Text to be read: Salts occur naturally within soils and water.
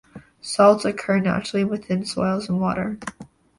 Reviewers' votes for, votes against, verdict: 0, 2, rejected